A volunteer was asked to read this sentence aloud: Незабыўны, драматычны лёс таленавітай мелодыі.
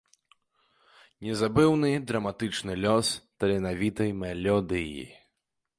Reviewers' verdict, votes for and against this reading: rejected, 0, 2